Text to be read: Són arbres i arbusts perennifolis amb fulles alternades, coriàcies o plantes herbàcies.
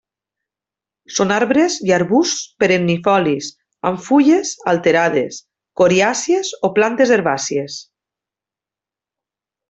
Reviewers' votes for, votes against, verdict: 1, 2, rejected